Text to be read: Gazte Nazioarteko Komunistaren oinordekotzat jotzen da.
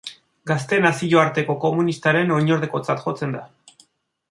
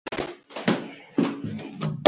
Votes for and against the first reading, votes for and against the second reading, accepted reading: 2, 1, 0, 6, first